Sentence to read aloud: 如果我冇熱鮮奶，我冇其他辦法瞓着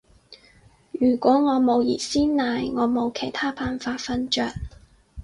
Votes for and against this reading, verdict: 4, 0, accepted